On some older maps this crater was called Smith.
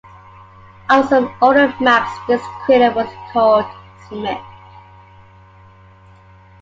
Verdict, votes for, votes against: accepted, 2, 0